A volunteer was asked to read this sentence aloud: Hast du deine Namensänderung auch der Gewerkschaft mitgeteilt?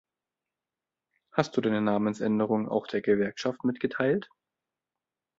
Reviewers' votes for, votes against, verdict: 2, 0, accepted